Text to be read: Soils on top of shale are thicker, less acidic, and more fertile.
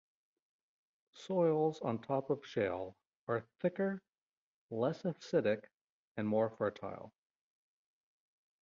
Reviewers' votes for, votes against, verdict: 0, 2, rejected